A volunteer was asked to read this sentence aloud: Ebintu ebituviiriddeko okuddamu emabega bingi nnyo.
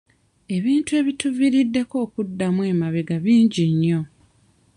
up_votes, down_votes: 2, 0